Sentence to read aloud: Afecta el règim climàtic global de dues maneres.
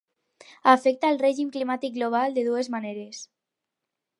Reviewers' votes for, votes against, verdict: 4, 0, accepted